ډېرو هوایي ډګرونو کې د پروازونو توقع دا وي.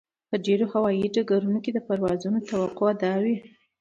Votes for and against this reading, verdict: 0, 2, rejected